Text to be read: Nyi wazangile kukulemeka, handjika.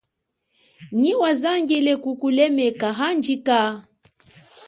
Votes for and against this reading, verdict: 4, 0, accepted